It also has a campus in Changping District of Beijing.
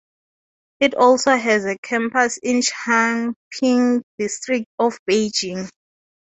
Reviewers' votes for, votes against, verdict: 4, 0, accepted